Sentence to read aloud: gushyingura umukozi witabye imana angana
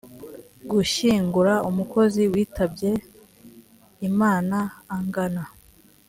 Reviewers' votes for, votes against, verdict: 0, 2, rejected